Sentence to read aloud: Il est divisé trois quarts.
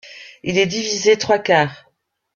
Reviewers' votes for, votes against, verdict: 2, 1, accepted